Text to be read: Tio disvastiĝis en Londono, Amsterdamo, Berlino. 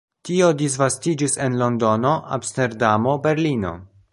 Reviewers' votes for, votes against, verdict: 2, 0, accepted